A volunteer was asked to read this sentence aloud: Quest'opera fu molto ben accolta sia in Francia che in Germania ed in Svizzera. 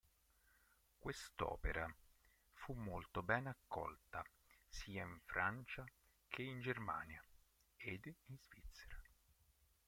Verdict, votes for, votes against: rejected, 1, 2